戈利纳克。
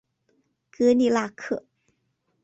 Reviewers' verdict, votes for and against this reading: accepted, 3, 0